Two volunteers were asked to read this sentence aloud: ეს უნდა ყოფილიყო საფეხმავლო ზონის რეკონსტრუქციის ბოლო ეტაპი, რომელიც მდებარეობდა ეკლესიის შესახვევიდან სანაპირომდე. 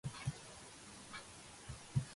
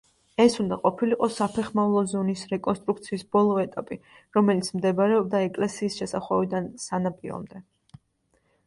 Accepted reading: second